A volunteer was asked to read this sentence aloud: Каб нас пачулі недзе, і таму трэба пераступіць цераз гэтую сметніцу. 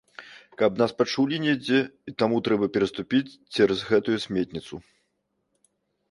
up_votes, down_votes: 2, 0